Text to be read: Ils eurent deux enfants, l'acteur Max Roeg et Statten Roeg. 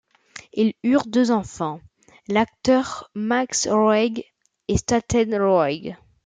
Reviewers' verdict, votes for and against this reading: accepted, 2, 0